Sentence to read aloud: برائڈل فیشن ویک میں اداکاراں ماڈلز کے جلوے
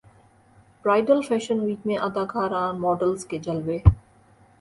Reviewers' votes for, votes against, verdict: 3, 0, accepted